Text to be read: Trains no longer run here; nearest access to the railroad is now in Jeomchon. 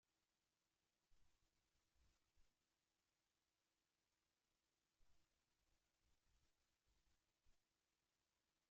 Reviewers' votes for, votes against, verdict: 0, 2, rejected